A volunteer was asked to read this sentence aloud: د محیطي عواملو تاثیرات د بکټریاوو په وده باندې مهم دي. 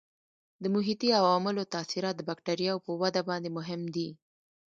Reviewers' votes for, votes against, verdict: 2, 1, accepted